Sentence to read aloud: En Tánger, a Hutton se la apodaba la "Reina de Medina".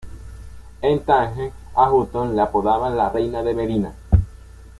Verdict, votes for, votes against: rejected, 1, 2